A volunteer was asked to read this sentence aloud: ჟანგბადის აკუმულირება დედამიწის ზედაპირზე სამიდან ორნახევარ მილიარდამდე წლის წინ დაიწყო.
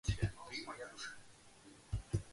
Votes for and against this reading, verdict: 0, 2, rejected